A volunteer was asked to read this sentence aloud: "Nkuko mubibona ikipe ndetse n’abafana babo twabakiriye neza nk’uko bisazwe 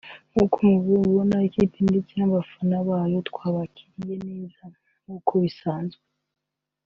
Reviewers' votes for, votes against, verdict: 2, 1, accepted